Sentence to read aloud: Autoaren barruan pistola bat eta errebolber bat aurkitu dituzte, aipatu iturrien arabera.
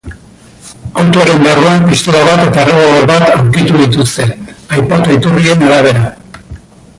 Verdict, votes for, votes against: rejected, 2, 3